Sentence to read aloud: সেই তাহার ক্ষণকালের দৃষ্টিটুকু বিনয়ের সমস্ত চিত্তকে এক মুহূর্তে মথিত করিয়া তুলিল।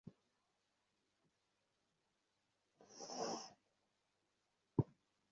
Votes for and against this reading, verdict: 0, 2, rejected